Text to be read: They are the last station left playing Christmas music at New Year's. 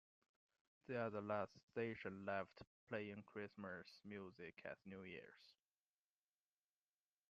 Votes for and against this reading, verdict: 2, 0, accepted